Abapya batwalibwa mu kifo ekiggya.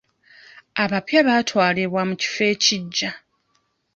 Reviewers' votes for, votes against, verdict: 0, 2, rejected